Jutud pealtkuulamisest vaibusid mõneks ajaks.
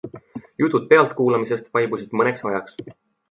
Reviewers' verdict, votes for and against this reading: accepted, 2, 0